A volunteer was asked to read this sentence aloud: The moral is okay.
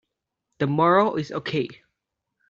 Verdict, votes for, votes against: accepted, 2, 1